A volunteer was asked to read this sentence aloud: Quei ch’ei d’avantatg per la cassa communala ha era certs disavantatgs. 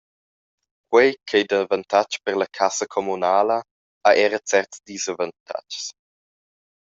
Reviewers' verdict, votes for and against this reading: rejected, 0, 2